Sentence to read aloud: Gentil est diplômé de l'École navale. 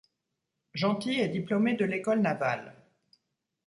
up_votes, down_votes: 2, 0